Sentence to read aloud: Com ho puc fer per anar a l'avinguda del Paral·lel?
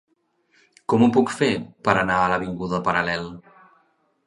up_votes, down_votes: 1, 3